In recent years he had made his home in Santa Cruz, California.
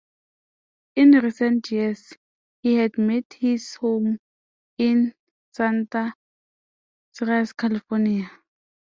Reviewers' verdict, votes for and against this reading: rejected, 0, 2